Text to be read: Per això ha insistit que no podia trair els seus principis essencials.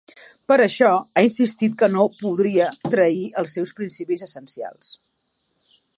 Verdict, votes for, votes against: rejected, 0, 2